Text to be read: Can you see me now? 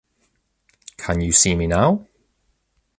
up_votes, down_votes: 2, 0